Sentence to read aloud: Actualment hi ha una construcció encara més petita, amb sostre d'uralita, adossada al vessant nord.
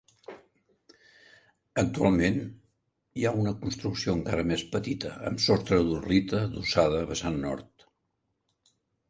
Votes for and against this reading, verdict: 1, 2, rejected